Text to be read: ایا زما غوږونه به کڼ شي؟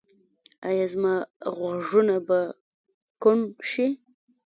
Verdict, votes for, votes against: rejected, 1, 2